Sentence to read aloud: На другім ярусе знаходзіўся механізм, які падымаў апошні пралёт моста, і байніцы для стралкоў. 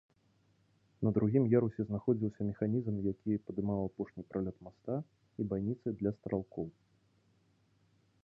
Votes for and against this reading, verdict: 0, 2, rejected